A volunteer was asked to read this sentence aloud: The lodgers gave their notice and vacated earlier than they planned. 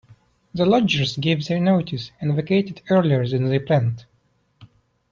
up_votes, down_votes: 2, 0